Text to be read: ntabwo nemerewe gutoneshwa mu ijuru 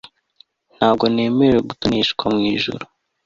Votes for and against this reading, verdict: 2, 0, accepted